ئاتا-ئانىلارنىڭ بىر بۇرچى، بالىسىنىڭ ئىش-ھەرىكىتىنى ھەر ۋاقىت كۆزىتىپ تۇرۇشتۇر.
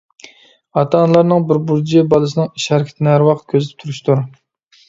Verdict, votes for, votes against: rejected, 1, 2